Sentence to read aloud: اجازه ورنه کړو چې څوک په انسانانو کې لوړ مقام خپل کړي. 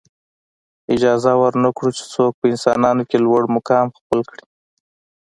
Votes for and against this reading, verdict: 2, 0, accepted